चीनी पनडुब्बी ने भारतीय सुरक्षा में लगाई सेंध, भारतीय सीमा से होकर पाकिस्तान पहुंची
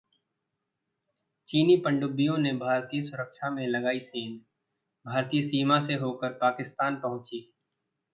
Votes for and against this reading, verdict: 1, 2, rejected